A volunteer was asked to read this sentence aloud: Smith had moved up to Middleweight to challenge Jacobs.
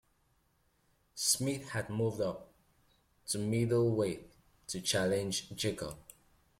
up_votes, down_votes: 2, 0